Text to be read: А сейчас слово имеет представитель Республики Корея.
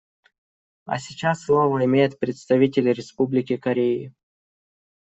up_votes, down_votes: 1, 2